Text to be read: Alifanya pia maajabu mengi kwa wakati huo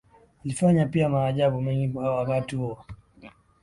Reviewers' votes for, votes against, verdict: 12, 2, accepted